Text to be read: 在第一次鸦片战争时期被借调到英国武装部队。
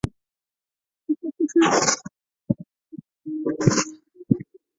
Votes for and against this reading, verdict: 0, 2, rejected